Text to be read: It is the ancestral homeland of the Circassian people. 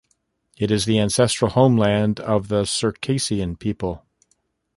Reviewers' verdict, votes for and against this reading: accepted, 2, 0